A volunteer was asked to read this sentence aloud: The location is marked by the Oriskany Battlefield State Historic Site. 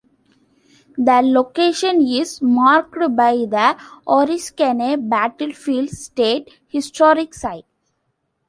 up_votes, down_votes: 1, 2